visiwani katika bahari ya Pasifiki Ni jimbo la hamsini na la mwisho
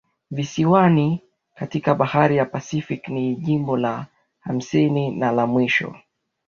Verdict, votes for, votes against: accepted, 2, 0